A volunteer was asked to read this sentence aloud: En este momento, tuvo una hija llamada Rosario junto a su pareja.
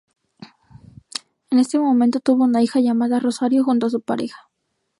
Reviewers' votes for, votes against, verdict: 2, 2, rejected